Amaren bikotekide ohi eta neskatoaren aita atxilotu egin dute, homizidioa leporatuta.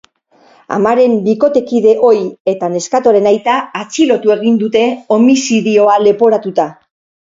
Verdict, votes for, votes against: accepted, 4, 0